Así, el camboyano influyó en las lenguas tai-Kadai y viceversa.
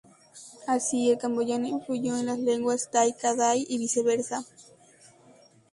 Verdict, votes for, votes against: accepted, 2, 0